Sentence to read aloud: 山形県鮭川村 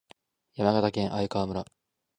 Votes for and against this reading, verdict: 2, 0, accepted